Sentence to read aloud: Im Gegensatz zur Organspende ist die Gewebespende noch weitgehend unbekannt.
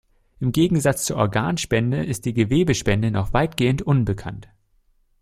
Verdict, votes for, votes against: accepted, 2, 0